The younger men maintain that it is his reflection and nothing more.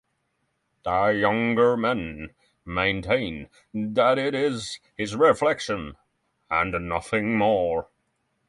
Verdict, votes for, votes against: rejected, 3, 3